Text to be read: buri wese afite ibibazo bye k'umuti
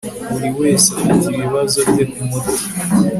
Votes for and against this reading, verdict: 2, 0, accepted